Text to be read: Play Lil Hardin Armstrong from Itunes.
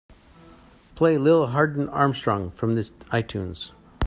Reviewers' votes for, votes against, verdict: 0, 2, rejected